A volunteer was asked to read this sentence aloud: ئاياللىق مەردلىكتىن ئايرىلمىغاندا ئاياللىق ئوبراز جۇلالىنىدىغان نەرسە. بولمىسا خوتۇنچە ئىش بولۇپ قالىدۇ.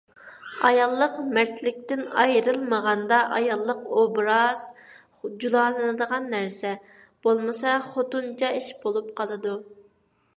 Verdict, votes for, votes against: accepted, 2, 0